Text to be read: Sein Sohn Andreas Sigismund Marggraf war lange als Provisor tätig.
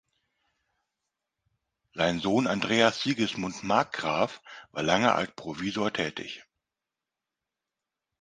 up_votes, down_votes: 1, 2